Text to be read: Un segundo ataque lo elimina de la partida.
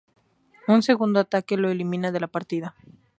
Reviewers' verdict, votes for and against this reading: accepted, 2, 0